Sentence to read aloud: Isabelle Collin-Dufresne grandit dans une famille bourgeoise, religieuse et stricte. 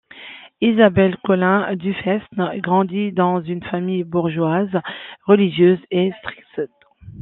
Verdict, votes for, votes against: rejected, 1, 2